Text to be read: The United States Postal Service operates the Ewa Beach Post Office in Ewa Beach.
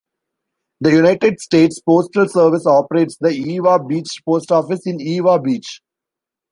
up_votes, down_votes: 0, 2